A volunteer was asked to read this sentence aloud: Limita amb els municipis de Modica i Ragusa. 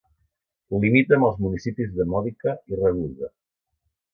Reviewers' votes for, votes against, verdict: 2, 0, accepted